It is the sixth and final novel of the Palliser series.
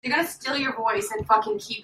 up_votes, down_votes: 0, 2